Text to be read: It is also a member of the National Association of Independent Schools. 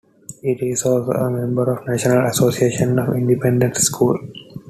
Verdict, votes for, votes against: accepted, 2, 1